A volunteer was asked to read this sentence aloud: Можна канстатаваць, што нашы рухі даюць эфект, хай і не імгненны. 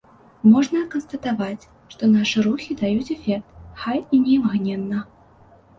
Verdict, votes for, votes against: rejected, 0, 2